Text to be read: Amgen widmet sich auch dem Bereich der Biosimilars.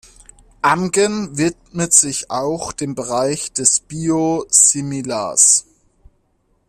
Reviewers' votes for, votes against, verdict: 2, 0, accepted